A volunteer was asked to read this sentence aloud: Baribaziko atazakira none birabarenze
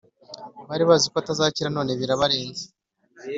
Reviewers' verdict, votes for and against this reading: accepted, 2, 0